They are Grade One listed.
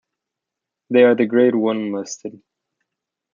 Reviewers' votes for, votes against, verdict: 0, 2, rejected